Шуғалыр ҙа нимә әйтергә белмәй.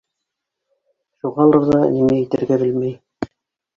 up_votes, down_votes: 1, 2